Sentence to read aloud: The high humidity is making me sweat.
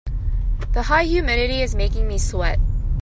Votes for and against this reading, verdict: 2, 0, accepted